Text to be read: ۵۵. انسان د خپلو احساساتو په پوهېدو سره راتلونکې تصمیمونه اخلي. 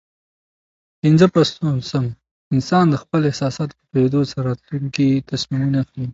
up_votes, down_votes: 0, 2